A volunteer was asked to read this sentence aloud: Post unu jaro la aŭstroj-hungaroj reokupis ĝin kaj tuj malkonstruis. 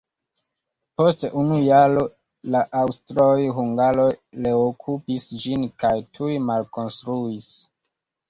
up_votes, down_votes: 2, 1